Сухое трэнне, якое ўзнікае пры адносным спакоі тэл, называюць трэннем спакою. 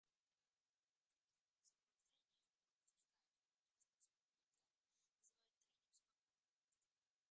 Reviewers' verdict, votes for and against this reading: rejected, 0, 2